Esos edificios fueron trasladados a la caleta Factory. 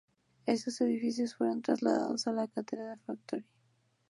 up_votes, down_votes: 0, 4